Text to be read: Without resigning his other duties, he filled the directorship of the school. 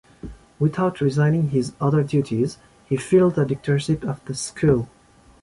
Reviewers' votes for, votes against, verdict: 0, 2, rejected